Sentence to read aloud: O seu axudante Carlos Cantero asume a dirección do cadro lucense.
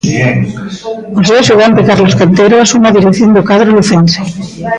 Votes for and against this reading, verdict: 1, 2, rejected